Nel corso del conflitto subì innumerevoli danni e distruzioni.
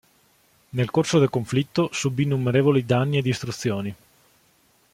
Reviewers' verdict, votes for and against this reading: accepted, 2, 0